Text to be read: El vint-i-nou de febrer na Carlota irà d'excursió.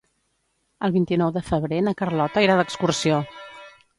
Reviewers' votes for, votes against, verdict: 2, 2, rejected